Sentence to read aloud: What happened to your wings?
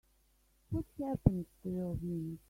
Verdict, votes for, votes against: rejected, 1, 2